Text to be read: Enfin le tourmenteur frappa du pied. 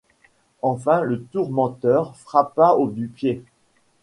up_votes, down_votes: 1, 2